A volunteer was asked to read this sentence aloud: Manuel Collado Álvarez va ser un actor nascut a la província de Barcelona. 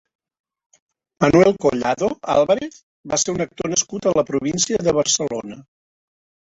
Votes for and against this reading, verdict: 1, 2, rejected